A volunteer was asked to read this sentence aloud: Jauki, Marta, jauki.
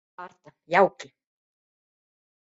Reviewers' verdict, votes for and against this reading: rejected, 0, 2